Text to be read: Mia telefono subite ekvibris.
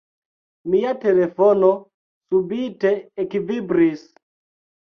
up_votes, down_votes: 2, 1